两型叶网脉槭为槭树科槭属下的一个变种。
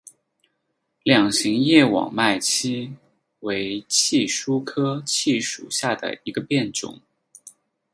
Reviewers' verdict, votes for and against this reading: accepted, 4, 0